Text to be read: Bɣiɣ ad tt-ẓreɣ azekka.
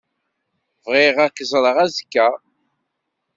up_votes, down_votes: 1, 2